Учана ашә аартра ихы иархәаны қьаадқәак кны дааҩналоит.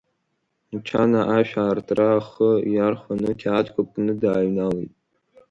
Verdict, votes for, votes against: rejected, 1, 2